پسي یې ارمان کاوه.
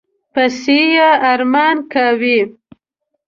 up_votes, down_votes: 1, 2